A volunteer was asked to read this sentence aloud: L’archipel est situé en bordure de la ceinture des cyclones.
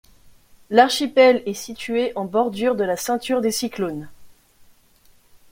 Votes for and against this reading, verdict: 2, 0, accepted